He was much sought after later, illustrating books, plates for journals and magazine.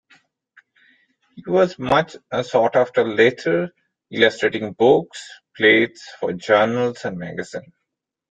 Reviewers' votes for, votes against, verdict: 0, 2, rejected